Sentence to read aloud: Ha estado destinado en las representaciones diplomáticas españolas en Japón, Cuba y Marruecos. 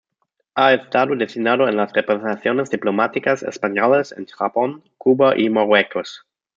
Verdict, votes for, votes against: rejected, 0, 2